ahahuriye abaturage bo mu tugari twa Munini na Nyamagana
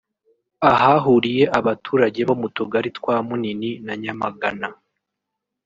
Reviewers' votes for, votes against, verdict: 0, 2, rejected